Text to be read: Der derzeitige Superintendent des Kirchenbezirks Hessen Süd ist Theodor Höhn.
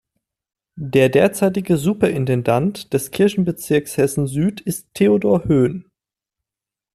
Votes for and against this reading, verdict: 0, 2, rejected